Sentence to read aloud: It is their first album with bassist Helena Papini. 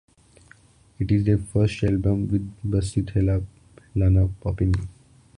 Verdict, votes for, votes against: rejected, 1, 2